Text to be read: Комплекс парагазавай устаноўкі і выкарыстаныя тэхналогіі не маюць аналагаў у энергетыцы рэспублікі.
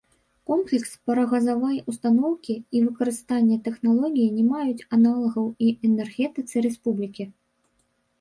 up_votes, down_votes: 0, 2